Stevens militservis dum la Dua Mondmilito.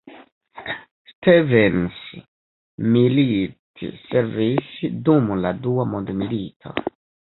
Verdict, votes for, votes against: accepted, 2, 1